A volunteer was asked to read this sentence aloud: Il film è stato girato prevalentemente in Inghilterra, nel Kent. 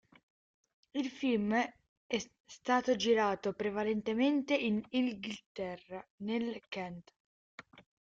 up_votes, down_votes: 0, 2